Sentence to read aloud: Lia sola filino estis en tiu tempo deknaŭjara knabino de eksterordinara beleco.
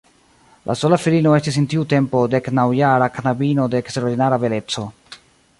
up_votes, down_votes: 2, 1